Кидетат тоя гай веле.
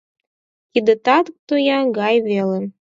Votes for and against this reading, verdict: 4, 0, accepted